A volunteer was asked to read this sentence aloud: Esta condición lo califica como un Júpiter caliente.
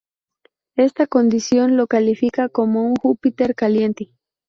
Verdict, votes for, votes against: accepted, 2, 0